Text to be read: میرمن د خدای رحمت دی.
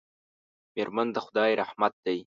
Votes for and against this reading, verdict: 2, 0, accepted